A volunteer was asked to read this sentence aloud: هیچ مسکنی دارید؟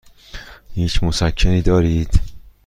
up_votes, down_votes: 2, 0